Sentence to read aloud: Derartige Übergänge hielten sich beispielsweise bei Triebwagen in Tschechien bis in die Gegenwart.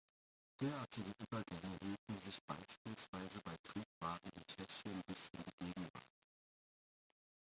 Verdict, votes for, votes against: rejected, 0, 2